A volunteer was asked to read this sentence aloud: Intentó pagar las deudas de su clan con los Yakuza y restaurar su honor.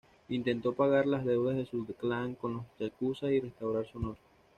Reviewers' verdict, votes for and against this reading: accepted, 3, 1